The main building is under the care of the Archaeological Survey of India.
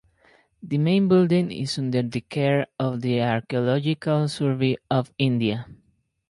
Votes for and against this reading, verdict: 0, 4, rejected